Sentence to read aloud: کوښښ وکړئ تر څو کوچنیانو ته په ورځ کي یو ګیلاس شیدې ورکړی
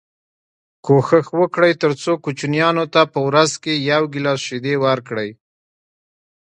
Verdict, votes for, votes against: rejected, 1, 2